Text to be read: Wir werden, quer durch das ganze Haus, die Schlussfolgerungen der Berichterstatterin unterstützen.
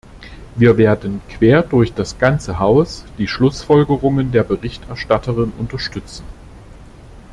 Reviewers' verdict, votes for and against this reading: accepted, 2, 0